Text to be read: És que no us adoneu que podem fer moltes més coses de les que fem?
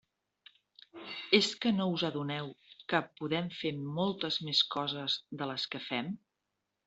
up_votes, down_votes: 3, 0